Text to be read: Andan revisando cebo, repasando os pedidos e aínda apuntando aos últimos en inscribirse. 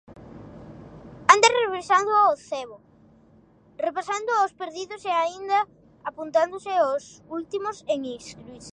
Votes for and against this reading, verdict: 0, 2, rejected